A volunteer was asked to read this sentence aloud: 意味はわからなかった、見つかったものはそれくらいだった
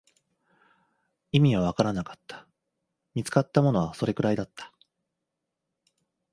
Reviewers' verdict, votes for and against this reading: accepted, 2, 0